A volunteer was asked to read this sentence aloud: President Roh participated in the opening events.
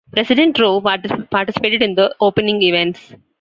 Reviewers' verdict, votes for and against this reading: rejected, 1, 2